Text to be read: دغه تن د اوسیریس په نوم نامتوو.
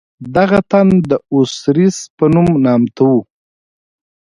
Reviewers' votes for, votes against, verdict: 2, 0, accepted